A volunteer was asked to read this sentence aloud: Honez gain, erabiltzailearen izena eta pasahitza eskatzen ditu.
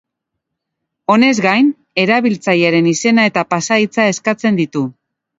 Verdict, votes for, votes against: accepted, 2, 0